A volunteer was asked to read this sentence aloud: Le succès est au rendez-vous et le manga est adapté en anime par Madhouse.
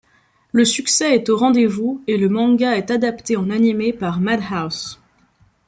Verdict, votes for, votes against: rejected, 0, 2